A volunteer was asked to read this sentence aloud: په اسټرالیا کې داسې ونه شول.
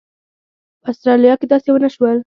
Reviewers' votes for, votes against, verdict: 2, 0, accepted